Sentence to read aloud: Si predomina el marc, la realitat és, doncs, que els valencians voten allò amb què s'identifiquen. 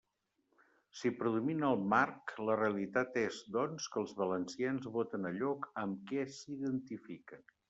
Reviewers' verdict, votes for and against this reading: accepted, 2, 0